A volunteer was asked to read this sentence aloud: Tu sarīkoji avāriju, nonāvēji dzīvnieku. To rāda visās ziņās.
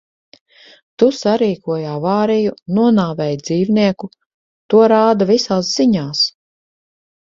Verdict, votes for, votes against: accepted, 4, 0